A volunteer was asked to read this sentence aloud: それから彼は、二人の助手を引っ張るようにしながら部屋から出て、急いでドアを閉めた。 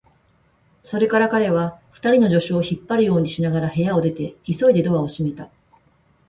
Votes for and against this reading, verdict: 0, 4, rejected